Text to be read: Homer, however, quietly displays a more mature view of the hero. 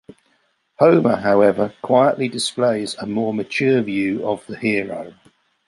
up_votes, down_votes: 2, 0